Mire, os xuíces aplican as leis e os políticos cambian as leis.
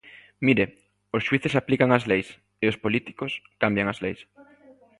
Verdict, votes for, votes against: rejected, 0, 2